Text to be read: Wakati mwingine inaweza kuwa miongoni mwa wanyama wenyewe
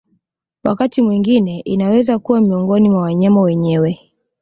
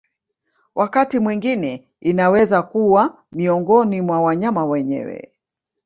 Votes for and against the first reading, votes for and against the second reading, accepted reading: 2, 0, 1, 2, first